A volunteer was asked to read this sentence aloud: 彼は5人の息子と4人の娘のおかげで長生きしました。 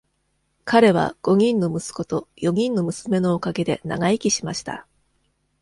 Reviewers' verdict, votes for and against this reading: rejected, 0, 2